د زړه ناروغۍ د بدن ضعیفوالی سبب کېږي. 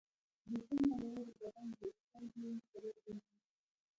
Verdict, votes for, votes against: rejected, 0, 2